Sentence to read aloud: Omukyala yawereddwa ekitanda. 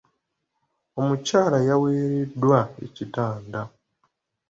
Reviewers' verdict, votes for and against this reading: accepted, 2, 0